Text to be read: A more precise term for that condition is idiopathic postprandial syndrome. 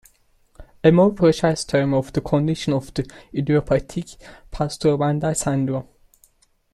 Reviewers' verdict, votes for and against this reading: rejected, 0, 2